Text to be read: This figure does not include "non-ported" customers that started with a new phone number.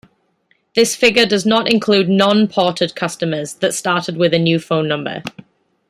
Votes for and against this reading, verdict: 2, 0, accepted